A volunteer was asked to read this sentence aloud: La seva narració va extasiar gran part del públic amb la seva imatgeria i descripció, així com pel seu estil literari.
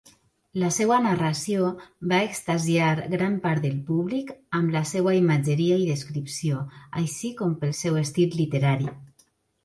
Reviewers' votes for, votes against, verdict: 0, 2, rejected